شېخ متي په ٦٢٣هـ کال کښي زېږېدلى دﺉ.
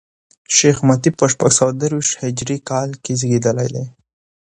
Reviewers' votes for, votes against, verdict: 0, 2, rejected